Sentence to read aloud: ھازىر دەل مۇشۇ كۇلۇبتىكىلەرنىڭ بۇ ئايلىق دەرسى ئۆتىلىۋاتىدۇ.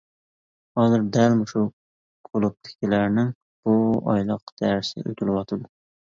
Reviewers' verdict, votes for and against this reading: accepted, 2, 1